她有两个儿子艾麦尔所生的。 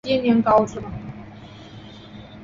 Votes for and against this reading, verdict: 1, 4, rejected